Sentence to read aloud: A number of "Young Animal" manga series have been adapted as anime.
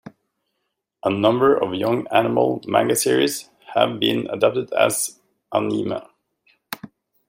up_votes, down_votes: 1, 2